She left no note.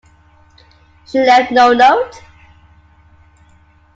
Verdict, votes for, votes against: accepted, 2, 0